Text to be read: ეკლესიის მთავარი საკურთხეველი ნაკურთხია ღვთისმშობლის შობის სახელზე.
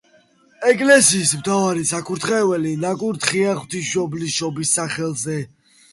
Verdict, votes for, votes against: accepted, 2, 0